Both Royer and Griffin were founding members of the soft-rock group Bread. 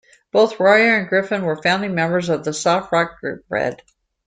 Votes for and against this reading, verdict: 2, 0, accepted